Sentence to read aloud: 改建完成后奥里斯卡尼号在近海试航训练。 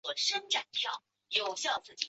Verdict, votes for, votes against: rejected, 0, 2